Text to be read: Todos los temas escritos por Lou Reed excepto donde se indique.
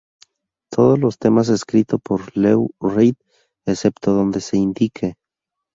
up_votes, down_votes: 2, 2